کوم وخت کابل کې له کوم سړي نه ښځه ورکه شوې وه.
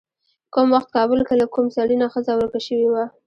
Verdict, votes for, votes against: rejected, 0, 2